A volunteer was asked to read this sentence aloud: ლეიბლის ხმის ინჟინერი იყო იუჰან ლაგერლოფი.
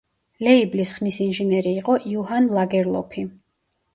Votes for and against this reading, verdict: 0, 2, rejected